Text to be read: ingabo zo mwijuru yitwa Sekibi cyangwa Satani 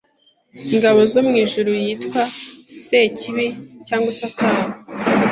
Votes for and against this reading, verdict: 2, 0, accepted